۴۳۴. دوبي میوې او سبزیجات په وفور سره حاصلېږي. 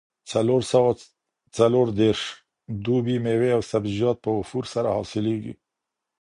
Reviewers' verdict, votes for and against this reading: rejected, 0, 2